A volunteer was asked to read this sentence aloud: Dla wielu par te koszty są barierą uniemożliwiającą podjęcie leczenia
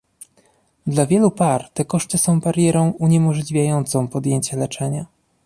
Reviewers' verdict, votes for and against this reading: accepted, 2, 0